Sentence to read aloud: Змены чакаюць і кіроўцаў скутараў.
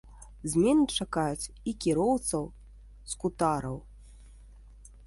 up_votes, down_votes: 0, 2